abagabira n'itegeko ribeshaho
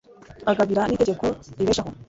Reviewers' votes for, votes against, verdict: 3, 0, accepted